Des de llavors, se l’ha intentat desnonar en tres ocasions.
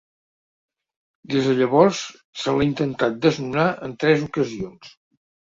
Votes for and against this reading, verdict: 4, 0, accepted